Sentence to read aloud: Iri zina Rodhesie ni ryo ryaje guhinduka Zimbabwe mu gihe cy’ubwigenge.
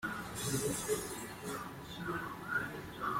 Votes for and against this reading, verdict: 0, 2, rejected